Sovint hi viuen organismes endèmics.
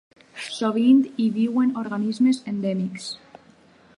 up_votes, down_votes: 2, 0